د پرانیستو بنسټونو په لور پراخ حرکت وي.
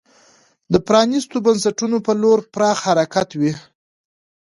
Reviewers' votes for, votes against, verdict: 2, 0, accepted